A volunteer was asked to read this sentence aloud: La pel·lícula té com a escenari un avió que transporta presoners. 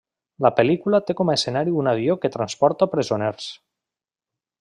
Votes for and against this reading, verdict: 3, 0, accepted